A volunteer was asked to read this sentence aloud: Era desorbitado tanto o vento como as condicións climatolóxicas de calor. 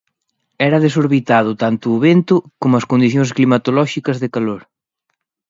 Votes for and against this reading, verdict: 2, 0, accepted